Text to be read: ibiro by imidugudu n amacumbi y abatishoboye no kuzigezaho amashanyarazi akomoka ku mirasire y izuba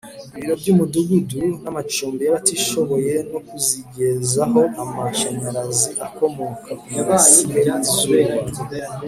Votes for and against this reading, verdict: 2, 0, accepted